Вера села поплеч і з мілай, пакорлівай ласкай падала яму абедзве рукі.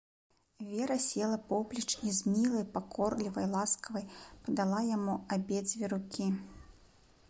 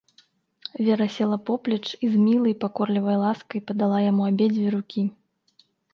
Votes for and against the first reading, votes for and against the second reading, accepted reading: 0, 2, 4, 0, second